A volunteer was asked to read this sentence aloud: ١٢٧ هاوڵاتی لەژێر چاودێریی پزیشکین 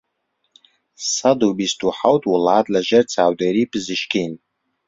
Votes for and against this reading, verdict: 0, 2, rejected